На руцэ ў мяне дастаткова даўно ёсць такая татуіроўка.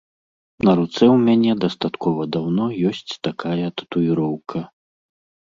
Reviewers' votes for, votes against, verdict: 2, 0, accepted